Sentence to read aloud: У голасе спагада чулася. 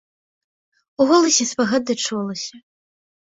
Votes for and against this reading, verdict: 2, 0, accepted